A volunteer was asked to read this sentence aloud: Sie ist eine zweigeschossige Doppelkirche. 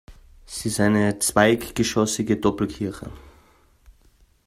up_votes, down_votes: 1, 2